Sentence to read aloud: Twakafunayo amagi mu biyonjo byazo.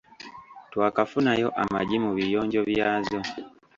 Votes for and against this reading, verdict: 1, 2, rejected